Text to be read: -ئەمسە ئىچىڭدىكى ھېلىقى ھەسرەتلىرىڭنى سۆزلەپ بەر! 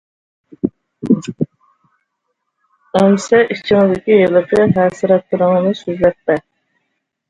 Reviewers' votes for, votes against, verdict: 0, 2, rejected